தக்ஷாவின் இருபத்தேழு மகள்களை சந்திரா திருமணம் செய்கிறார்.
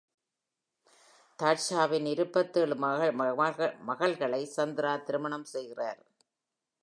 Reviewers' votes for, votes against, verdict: 0, 2, rejected